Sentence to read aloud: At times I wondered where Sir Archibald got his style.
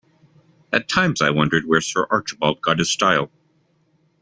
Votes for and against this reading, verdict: 2, 0, accepted